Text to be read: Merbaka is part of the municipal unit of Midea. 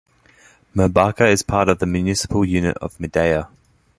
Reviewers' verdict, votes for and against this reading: accepted, 2, 1